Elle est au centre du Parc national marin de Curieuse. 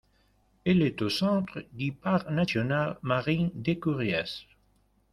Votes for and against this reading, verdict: 0, 2, rejected